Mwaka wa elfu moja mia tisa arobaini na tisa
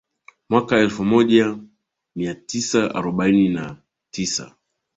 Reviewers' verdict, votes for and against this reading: accepted, 2, 0